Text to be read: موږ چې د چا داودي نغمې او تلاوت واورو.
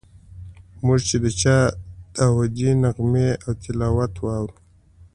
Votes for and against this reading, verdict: 2, 0, accepted